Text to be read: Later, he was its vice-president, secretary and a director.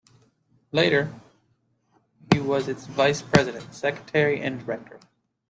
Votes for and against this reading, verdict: 2, 0, accepted